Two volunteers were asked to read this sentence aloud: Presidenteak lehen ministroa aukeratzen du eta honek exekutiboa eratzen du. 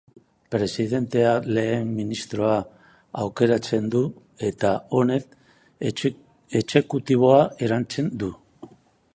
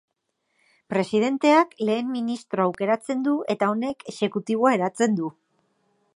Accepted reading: second